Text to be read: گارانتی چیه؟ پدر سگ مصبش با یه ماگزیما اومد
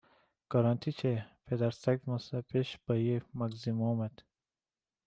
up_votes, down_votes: 0, 3